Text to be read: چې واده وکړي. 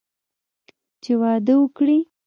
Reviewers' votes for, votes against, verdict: 0, 2, rejected